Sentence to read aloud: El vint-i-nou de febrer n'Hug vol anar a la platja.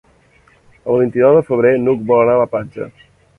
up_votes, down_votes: 1, 2